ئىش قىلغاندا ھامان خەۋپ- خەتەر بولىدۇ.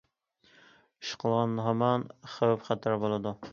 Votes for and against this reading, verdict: 0, 2, rejected